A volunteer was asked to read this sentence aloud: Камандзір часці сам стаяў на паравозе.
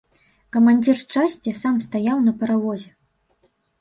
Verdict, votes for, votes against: accepted, 2, 0